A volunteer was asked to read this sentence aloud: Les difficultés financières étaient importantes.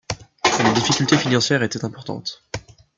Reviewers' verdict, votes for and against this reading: rejected, 1, 2